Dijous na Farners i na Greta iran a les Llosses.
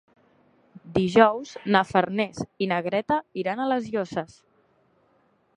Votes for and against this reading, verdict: 2, 0, accepted